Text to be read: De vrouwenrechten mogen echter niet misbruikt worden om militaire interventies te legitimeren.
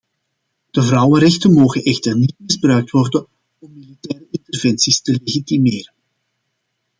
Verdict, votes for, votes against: rejected, 0, 2